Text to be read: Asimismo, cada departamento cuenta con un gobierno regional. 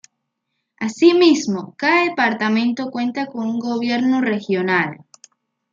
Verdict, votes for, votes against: accepted, 2, 0